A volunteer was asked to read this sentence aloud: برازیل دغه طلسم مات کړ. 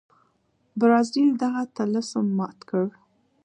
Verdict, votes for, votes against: accepted, 2, 0